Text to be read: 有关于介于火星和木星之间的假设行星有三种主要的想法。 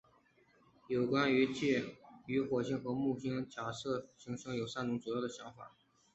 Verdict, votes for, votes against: accepted, 2, 0